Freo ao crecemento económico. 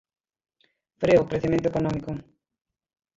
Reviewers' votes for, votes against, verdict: 0, 3, rejected